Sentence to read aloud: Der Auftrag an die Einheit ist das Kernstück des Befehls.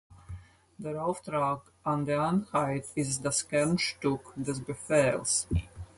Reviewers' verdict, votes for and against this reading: rejected, 0, 4